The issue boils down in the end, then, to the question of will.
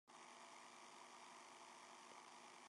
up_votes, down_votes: 0, 2